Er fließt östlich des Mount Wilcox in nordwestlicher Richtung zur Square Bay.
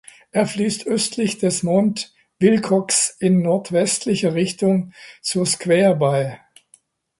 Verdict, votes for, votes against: rejected, 1, 2